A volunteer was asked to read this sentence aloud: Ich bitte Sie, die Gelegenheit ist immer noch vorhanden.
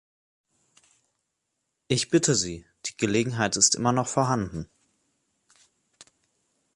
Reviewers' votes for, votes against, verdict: 2, 0, accepted